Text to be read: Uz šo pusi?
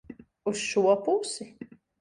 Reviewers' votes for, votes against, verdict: 2, 0, accepted